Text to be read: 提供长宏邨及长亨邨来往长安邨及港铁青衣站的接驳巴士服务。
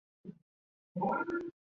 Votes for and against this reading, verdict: 0, 2, rejected